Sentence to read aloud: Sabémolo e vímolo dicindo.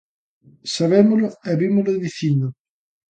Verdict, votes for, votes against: accepted, 2, 0